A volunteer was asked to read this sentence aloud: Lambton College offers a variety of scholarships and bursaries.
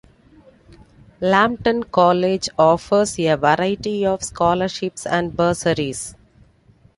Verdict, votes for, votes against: accepted, 2, 1